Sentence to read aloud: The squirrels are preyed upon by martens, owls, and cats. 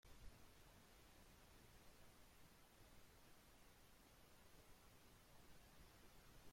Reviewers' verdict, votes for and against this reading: rejected, 0, 3